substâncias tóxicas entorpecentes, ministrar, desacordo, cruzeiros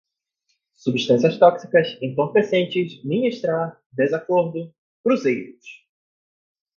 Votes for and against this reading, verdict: 4, 0, accepted